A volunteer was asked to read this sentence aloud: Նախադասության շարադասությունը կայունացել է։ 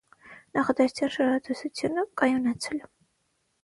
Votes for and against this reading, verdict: 0, 9, rejected